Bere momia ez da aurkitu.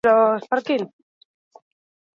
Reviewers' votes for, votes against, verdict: 0, 2, rejected